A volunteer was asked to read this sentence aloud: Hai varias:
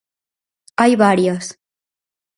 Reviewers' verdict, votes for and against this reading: accepted, 4, 0